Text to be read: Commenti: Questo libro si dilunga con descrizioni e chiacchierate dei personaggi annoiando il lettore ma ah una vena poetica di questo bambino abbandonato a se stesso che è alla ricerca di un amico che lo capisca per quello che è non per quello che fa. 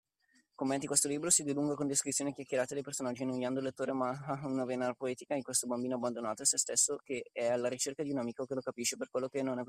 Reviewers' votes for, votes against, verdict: 0, 2, rejected